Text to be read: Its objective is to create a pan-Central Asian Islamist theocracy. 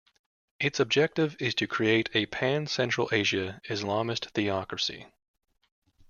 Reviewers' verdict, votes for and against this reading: rejected, 1, 2